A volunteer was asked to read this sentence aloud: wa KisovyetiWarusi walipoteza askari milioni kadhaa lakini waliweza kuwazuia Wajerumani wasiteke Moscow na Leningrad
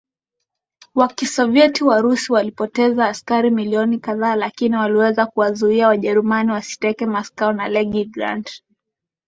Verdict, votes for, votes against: accepted, 4, 1